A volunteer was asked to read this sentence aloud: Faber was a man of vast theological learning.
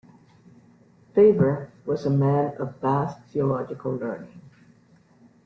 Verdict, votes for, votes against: accepted, 2, 0